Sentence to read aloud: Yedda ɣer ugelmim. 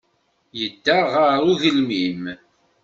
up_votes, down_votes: 2, 0